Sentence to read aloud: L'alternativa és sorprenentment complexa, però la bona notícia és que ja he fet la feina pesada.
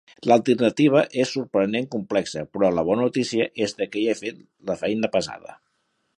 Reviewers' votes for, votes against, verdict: 1, 2, rejected